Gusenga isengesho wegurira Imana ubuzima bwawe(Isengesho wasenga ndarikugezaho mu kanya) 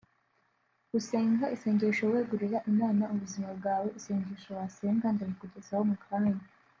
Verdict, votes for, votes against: accepted, 2, 0